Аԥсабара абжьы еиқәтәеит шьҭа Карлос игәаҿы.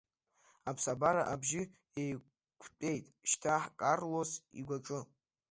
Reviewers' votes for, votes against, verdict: 0, 2, rejected